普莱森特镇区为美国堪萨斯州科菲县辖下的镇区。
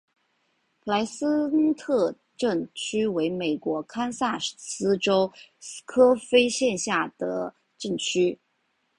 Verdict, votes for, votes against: accepted, 2, 0